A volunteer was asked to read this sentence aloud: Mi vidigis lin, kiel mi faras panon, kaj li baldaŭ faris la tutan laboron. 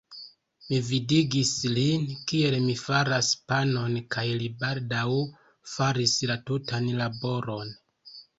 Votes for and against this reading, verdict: 2, 0, accepted